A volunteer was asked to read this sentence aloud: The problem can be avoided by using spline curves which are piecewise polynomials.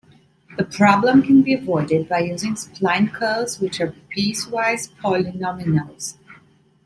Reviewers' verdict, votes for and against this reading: rejected, 1, 2